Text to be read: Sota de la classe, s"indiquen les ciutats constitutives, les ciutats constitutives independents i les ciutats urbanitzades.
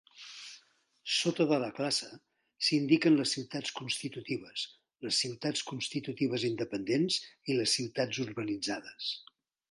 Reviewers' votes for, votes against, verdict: 1, 2, rejected